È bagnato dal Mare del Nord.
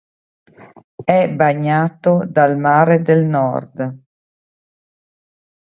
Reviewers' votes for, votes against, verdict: 2, 0, accepted